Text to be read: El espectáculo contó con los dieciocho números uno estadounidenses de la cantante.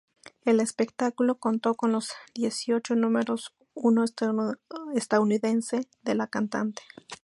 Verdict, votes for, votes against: rejected, 0, 2